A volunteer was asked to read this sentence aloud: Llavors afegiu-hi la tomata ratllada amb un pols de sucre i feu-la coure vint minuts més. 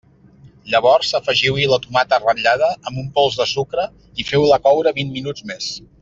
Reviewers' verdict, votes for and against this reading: accepted, 2, 0